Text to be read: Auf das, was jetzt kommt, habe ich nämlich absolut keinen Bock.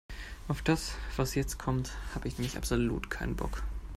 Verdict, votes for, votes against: accepted, 2, 0